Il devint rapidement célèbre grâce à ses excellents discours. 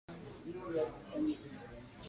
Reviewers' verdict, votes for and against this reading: rejected, 0, 2